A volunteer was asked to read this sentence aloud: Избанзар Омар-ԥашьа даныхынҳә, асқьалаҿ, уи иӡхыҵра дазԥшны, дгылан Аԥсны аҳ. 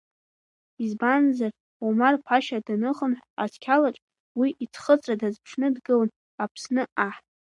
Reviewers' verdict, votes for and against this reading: accepted, 2, 0